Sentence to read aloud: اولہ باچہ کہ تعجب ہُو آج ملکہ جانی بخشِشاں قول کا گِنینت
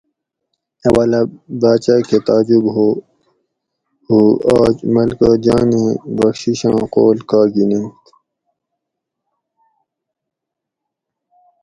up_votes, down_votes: 2, 2